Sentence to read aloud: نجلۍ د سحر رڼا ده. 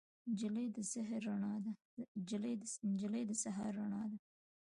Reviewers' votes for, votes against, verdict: 0, 2, rejected